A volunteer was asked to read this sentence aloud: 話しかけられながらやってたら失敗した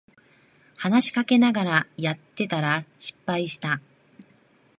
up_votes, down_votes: 2, 1